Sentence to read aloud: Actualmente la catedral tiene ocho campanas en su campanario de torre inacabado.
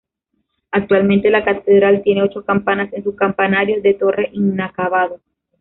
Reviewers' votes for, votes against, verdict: 2, 1, accepted